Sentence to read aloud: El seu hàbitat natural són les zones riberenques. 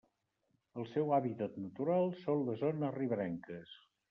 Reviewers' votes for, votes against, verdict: 2, 0, accepted